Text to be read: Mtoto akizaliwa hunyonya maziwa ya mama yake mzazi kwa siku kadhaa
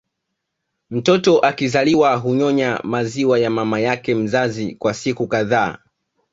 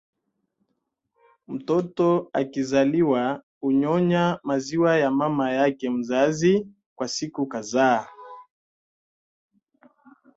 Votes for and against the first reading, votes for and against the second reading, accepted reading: 2, 1, 1, 2, first